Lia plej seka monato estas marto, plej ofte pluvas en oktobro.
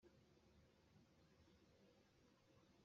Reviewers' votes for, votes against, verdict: 0, 2, rejected